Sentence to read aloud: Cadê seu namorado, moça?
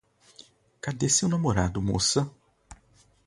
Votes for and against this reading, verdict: 2, 0, accepted